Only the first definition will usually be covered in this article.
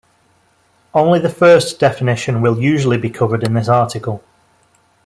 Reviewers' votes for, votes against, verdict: 2, 0, accepted